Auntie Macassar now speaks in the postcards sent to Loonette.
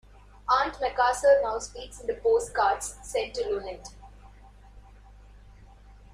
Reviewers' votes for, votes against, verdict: 2, 0, accepted